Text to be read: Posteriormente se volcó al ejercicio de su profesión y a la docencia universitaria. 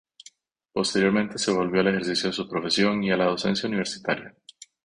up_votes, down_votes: 2, 2